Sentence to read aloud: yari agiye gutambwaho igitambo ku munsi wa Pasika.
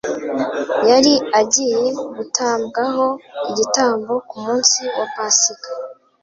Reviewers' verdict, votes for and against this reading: accepted, 2, 0